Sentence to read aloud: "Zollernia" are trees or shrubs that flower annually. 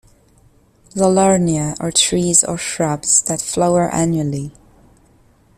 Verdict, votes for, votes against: accepted, 2, 1